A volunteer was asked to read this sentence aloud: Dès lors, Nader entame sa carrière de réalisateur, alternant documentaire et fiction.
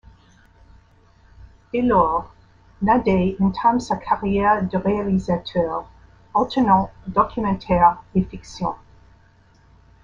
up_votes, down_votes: 0, 2